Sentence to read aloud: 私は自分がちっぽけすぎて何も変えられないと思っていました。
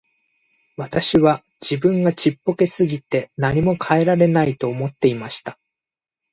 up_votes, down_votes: 1, 2